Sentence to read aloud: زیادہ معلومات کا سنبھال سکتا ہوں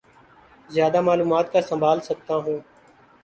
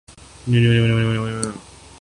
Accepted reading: first